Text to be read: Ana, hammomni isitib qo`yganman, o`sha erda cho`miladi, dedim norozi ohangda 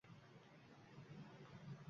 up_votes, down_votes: 1, 2